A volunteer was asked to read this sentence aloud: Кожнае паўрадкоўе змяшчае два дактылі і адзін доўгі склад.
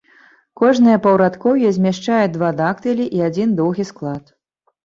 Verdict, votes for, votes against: accepted, 4, 0